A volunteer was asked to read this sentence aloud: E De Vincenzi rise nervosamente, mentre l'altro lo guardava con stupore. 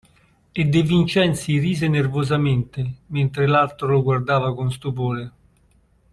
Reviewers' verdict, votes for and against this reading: accepted, 2, 1